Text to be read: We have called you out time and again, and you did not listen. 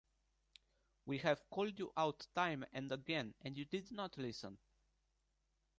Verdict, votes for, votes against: accepted, 2, 0